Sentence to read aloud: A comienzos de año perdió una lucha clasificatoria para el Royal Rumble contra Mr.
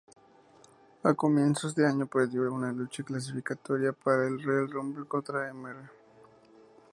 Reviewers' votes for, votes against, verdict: 2, 0, accepted